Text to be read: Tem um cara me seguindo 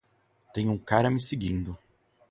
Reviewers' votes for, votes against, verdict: 2, 2, rejected